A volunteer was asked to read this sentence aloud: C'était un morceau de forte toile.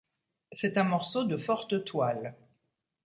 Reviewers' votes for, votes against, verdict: 1, 2, rejected